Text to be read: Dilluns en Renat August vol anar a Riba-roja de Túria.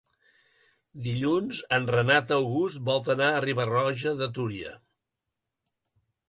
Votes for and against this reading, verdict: 3, 1, accepted